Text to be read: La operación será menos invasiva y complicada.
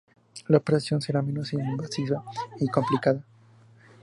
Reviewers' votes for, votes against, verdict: 2, 0, accepted